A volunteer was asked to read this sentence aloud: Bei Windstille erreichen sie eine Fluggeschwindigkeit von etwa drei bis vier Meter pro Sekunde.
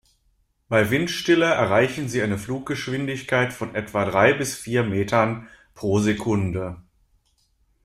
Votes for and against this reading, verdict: 0, 2, rejected